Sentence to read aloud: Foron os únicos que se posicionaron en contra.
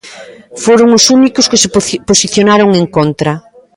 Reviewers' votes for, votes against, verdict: 0, 2, rejected